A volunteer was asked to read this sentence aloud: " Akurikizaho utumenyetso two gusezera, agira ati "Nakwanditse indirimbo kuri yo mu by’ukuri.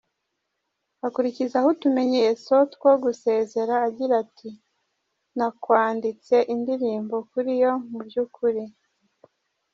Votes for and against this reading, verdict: 2, 0, accepted